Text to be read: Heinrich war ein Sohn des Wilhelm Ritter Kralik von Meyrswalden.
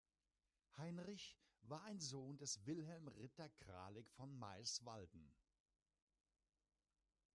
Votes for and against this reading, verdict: 2, 0, accepted